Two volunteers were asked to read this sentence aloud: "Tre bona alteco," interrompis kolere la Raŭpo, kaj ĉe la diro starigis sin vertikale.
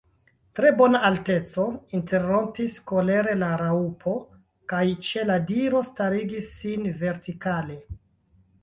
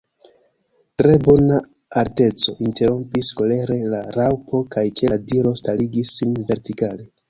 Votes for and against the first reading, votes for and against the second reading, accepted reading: 0, 2, 2, 1, second